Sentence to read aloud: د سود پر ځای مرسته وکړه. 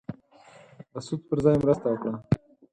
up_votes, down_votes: 2, 4